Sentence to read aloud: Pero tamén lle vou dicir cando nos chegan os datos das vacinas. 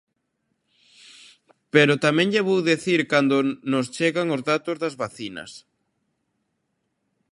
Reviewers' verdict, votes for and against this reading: rejected, 0, 2